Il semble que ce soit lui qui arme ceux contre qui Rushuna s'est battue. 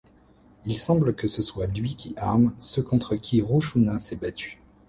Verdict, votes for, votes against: accepted, 2, 0